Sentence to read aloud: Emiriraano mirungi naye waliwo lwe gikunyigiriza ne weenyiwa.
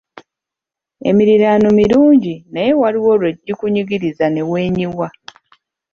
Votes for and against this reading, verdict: 2, 0, accepted